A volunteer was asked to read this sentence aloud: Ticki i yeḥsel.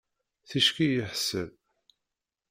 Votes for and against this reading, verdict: 0, 2, rejected